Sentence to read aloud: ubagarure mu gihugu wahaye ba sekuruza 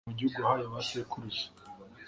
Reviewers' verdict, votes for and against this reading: accepted, 2, 0